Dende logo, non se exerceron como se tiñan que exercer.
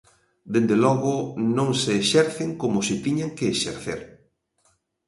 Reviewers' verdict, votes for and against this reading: rejected, 0, 2